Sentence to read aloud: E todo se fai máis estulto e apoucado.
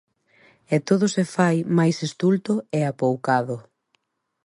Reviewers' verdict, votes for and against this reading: accepted, 2, 0